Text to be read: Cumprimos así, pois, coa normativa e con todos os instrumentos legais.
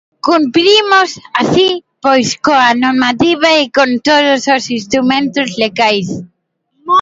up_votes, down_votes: 2, 0